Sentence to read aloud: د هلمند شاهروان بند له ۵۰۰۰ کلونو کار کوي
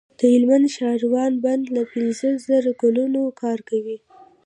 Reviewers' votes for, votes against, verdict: 0, 2, rejected